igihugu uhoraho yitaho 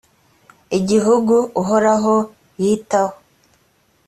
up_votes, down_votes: 2, 0